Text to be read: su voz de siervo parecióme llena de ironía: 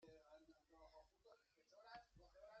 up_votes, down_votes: 0, 2